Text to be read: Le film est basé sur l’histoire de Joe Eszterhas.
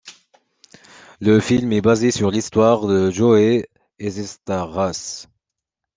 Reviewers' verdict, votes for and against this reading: rejected, 0, 2